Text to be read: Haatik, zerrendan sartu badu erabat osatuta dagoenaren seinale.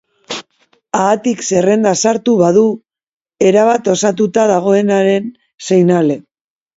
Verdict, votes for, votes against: accepted, 3, 0